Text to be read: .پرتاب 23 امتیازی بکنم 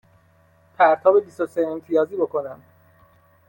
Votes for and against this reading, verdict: 0, 2, rejected